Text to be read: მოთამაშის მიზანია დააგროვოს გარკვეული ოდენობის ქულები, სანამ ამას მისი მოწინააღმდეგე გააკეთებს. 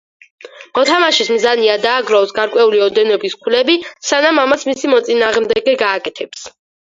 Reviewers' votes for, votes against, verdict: 4, 2, accepted